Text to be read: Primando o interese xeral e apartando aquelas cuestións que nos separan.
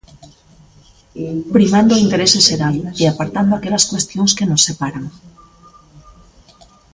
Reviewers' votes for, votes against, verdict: 0, 2, rejected